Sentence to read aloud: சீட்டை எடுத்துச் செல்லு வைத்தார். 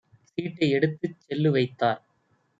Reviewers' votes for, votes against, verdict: 2, 0, accepted